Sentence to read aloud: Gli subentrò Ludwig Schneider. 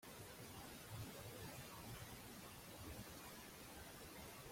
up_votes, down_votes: 0, 2